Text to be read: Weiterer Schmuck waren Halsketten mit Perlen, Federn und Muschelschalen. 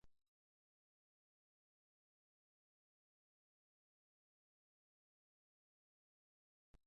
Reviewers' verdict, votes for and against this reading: rejected, 0, 2